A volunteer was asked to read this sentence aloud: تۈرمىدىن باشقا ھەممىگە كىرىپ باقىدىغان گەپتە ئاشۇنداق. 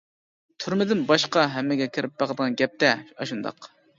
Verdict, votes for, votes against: accepted, 2, 0